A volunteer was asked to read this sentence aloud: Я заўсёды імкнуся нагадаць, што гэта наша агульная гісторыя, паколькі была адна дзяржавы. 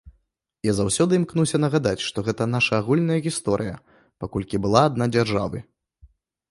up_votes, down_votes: 2, 0